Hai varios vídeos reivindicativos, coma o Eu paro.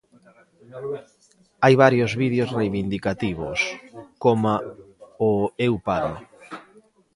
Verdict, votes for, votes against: rejected, 0, 2